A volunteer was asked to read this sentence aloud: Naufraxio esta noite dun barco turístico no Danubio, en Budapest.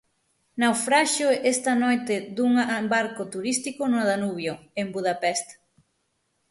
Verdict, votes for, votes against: rejected, 0, 6